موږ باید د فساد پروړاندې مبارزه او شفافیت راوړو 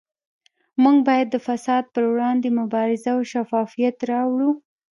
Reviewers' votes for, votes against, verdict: 2, 1, accepted